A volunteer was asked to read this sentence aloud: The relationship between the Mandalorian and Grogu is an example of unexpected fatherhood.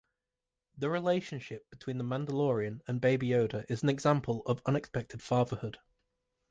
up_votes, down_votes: 1, 2